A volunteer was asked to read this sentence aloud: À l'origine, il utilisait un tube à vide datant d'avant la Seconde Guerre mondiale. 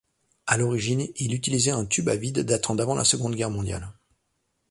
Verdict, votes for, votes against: accepted, 2, 0